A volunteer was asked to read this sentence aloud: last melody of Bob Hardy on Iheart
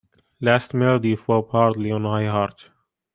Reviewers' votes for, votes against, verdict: 2, 1, accepted